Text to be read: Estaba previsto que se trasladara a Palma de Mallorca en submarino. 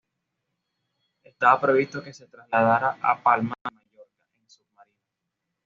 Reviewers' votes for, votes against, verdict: 1, 2, rejected